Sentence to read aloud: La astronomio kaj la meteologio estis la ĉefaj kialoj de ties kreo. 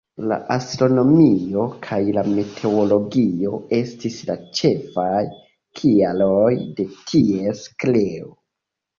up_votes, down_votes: 2, 0